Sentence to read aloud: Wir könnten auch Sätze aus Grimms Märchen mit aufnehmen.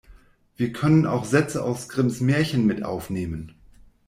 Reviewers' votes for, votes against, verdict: 1, 2, rejected